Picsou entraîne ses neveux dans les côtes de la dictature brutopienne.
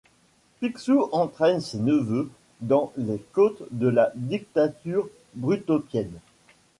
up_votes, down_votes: 2, 0